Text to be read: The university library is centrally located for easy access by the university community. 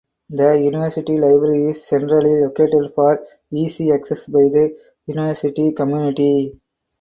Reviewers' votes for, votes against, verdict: 4, 0, accepted